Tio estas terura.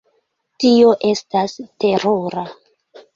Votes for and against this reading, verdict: 2, 0, accepted